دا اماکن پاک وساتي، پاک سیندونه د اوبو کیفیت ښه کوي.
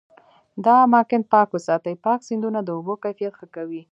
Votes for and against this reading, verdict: 2, 0, accepted